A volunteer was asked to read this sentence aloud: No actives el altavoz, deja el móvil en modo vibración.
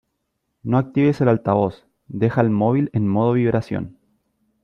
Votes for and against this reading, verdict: 2, 0, accepted